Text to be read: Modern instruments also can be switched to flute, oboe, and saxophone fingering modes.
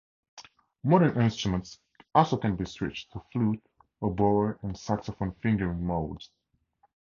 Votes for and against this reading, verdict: 2, 0, accepted